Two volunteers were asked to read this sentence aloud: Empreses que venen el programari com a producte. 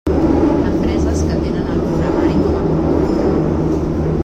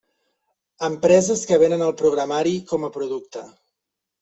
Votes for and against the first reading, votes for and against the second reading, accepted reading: 0, 2, 3, 0, second